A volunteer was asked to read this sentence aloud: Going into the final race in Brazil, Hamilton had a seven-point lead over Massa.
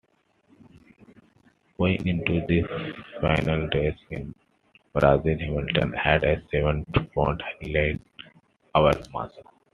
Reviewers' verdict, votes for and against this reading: rejected, 0, 2